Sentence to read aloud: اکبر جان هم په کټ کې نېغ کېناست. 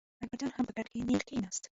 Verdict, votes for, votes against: rejected, 2, 3